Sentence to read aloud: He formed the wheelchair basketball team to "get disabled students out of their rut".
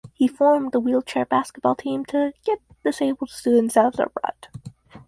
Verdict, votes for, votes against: rejected, 2, 2